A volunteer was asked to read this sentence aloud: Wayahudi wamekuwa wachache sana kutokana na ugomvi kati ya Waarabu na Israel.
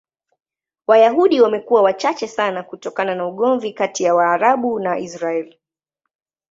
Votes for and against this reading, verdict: 2, 0, accepted